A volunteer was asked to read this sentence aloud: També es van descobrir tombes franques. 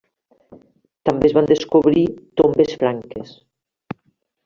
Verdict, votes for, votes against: rejected, 1, 2